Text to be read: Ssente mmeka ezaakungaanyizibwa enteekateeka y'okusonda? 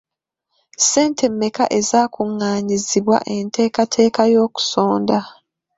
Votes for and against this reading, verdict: 1, 2, rejected